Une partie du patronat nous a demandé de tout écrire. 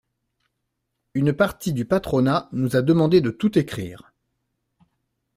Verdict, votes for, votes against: accepted, 2, 0